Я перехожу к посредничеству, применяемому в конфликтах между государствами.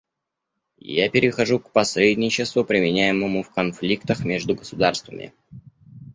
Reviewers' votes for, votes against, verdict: 2, 0, accepted